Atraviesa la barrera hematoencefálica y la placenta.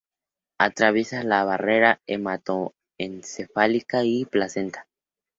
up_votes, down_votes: 2, 0